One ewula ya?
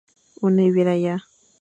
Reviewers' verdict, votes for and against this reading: accepted, 2, 0